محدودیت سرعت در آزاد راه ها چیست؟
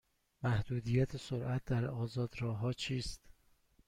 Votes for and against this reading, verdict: 2, 0, accepted